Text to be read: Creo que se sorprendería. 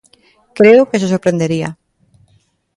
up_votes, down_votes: 2, 0